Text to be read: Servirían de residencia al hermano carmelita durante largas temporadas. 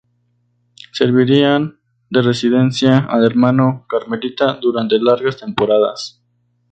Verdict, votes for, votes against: accepted, 2, 0